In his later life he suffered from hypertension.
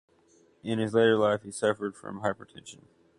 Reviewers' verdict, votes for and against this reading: accepted, 2, 0